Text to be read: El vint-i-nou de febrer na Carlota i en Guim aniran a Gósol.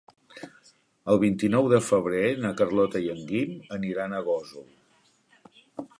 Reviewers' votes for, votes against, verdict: 2, 0, accepted